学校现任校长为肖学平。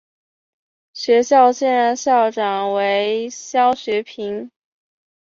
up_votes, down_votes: 3, 0